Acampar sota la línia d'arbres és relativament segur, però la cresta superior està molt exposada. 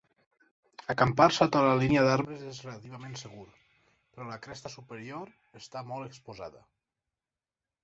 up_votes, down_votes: 2, 4